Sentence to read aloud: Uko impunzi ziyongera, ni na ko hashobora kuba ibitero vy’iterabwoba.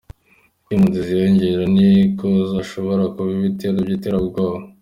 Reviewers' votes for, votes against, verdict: 2, 0, accepted